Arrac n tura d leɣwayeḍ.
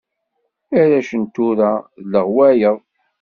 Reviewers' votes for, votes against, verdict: 2, 0, accepted